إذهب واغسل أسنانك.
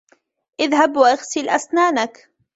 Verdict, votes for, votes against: rejected, 1, 2